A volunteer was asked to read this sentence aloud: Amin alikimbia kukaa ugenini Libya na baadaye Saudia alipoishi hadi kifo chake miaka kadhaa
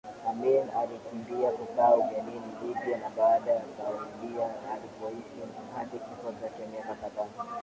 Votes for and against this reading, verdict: 3, 4, rejected